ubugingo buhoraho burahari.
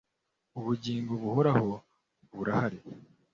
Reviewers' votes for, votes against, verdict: 2, 0, accepted